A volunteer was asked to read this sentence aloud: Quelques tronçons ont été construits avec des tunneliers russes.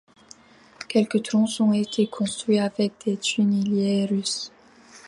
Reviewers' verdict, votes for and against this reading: rejected, 0, 2